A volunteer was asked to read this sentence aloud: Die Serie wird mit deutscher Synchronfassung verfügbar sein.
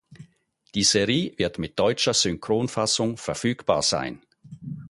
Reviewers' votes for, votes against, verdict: 0, 4, rejected